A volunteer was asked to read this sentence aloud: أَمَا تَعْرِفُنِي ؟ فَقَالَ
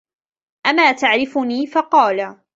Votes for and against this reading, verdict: 2, 0, accepted